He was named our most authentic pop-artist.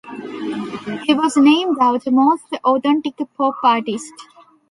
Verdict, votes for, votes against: rejected, 1, 2